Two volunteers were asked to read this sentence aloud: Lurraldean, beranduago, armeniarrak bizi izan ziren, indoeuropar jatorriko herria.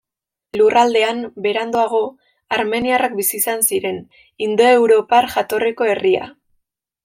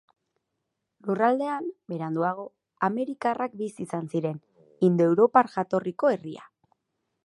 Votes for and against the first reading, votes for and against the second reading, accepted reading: 2, 1, 2, 8, first